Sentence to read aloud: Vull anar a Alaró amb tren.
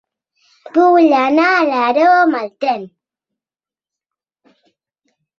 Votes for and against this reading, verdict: 1, 2, rejected